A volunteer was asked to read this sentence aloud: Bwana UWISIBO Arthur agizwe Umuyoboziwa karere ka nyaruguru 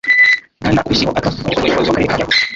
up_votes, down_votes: 0, 2